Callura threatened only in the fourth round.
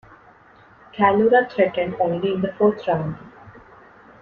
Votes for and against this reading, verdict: 2, 0, accepted